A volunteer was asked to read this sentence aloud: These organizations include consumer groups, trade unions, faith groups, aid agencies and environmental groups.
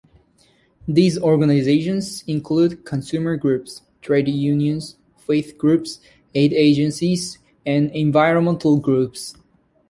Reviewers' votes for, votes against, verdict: 2, 0, accepted